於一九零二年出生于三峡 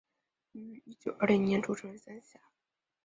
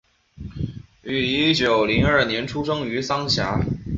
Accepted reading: second